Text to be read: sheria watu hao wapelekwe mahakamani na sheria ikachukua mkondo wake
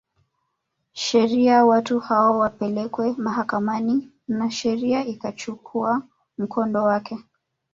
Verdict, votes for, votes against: rejected, 1, 2